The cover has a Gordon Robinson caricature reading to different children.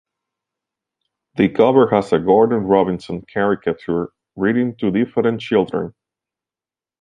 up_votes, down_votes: 2, 0